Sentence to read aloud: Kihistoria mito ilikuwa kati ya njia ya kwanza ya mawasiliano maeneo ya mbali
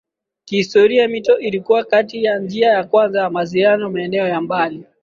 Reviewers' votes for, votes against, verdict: 2, 0, accepted